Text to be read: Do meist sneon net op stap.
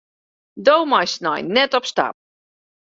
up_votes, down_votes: 1, 2